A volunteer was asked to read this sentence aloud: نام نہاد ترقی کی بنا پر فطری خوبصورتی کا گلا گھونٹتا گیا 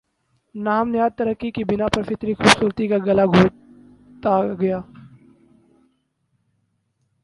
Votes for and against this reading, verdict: 0, 2, rejected